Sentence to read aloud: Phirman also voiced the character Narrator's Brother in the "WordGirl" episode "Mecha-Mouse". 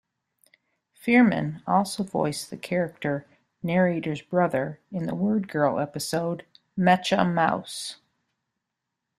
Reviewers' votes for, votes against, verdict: 0, 2, rejected